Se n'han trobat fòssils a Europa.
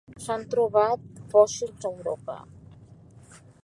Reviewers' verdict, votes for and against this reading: rejected, 0, 2